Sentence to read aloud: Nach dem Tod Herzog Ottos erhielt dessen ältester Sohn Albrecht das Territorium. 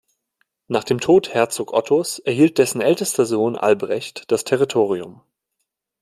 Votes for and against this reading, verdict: 2, 0, accepted